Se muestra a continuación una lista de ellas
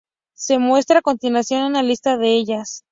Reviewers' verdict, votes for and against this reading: accepted, 2, 0